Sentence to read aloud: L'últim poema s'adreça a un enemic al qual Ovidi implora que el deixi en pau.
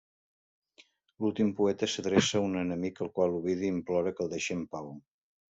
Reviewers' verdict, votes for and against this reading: rejected, 0, 2